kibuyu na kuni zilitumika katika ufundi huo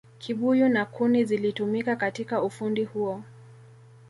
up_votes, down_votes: 2, 0